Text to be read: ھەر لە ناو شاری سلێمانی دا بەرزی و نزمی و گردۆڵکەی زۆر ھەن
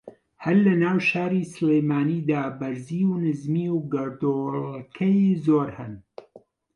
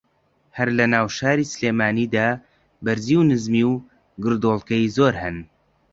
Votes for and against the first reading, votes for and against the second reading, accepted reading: 0, 2, 2, 0, second